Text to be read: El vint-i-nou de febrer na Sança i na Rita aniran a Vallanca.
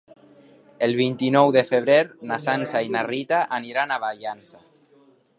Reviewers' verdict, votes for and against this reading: rejected, 2, 3